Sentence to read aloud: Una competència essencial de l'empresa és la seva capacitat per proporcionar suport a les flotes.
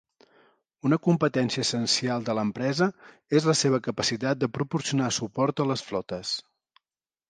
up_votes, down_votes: 0, 2